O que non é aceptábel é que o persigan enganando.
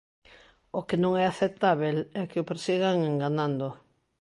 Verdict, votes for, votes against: accepted, 2, 0